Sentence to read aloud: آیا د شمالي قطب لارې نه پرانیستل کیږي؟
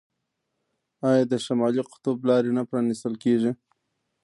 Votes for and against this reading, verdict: 1, 2, rejected